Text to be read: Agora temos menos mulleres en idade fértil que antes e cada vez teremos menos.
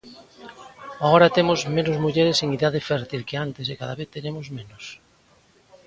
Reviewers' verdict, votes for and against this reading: accepted, 2, 0